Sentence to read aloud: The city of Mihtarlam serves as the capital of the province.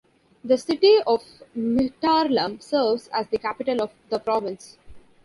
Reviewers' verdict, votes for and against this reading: rejected, 0, 2